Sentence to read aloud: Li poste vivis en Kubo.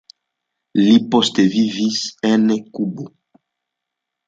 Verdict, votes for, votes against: accepted, 2, 0